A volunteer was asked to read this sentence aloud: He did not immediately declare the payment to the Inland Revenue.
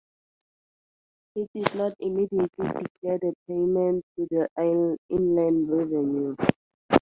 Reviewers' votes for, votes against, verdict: 0, 2, rejected